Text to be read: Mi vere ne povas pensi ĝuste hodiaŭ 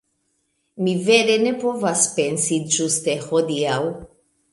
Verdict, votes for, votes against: accepted, 2, 0